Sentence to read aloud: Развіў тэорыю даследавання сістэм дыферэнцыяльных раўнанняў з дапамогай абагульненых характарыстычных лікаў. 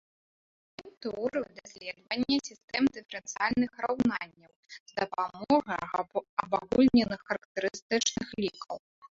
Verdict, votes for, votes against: rejected, 1, 2